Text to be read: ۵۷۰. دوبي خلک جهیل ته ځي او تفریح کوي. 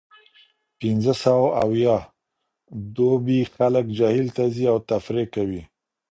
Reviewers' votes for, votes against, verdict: 0, 2, rejected